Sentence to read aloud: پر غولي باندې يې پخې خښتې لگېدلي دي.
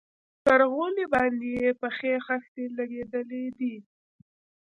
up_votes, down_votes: 2, 0